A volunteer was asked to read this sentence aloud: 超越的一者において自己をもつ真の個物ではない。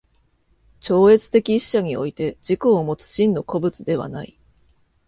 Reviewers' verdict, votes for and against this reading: accepted, 2, 1